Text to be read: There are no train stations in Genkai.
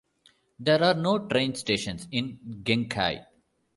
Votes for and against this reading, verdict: 2, 0, accepted